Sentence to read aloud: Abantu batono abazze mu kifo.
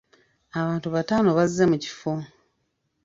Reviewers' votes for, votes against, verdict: 1, 2, rejected